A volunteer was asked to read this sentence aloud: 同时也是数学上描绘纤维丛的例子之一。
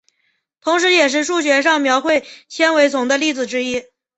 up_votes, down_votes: 6, 0